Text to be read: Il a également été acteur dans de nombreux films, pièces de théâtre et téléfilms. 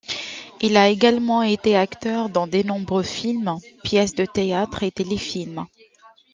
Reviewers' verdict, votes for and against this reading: rejected, 0, 2